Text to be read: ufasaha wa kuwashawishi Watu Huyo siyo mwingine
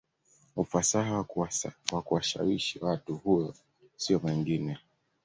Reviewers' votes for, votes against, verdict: 0, 2, rejected